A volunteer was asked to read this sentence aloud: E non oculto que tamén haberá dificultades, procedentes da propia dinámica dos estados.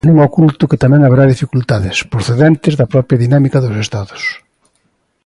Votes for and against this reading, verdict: 2, 0, accepted